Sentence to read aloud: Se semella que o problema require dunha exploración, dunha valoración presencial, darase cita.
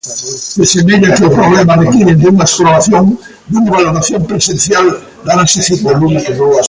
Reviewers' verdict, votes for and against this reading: rejected, 0, 2